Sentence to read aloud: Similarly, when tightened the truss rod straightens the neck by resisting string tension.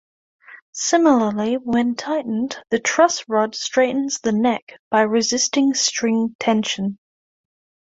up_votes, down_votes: 2, 0